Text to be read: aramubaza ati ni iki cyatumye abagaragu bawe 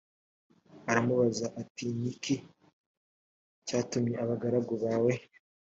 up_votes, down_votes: 2, 0